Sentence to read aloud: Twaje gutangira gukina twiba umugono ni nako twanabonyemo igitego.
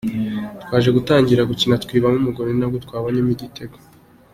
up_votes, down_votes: 2, 0